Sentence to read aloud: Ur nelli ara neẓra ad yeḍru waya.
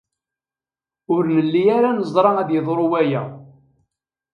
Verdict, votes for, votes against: accepted, 3, 0